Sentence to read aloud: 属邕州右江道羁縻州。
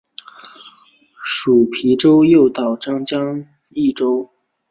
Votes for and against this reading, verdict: 2, 1, accepted